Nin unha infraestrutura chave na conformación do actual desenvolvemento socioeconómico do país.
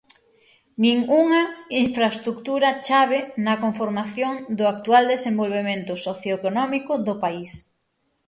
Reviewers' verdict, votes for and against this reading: rejected, 3, 6